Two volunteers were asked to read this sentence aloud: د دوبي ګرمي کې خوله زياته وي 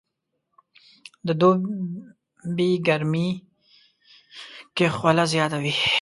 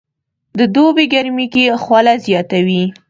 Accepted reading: second